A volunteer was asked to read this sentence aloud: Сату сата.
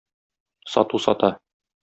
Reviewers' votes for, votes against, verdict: 2, 0, accepted